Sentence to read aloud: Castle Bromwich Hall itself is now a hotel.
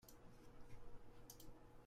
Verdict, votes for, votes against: rejected, 0, 2